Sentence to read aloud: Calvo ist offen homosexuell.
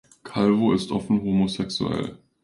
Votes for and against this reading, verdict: 2, 0, accepted